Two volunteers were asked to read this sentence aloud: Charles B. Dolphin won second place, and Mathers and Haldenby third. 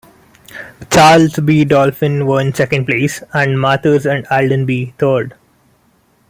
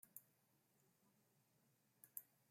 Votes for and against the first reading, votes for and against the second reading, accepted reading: 2, 1, 0, 2, first